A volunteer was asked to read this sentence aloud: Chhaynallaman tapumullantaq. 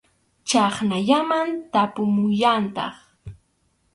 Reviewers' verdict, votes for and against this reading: rejected, 0, 2